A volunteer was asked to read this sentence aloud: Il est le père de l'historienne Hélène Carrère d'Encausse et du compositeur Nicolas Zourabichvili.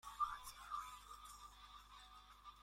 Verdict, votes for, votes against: rejected, 0, 2